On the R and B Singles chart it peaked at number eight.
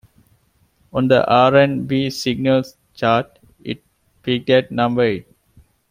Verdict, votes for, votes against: rejected, 1, 2